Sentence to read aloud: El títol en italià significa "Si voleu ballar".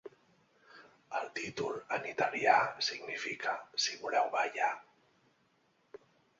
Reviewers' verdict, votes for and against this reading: accepted, 2, 0